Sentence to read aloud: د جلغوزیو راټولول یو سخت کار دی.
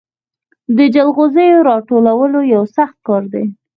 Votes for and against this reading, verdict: 2, 4, rejected